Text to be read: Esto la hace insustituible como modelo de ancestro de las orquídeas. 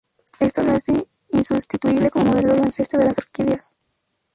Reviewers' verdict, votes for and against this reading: accepted, 4, 0